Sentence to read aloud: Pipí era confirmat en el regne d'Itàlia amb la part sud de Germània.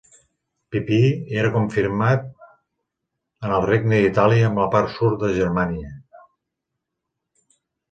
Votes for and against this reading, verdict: 1, 2, rejected